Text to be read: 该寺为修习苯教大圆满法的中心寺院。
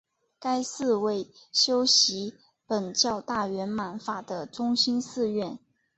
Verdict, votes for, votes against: rejected, 1, 2